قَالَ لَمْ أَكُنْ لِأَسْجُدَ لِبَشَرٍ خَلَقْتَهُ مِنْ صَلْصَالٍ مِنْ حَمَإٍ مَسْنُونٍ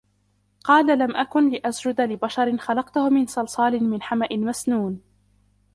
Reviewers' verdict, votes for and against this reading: rejected, 0, 2